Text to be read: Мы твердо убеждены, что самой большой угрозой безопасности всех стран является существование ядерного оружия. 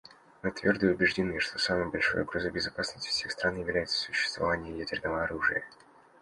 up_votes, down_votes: 2, 1